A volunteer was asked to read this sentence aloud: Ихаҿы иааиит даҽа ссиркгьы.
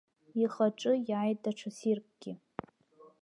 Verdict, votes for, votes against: accepted, 3, 0